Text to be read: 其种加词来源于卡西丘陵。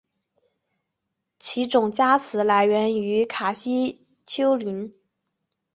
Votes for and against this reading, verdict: 2, 0, accepted